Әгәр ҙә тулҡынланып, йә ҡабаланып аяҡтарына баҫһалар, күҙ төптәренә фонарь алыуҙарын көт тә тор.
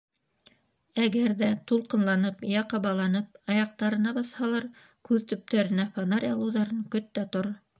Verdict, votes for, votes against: rejected, 1, 2